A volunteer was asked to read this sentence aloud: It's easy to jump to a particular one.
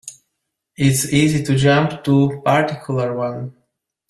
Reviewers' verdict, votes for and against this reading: rejected, 0, 2